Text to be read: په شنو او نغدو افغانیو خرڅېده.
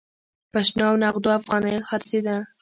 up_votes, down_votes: 1, 2